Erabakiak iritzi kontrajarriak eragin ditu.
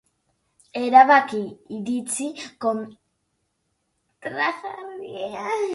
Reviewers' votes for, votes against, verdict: 0, 2, rejected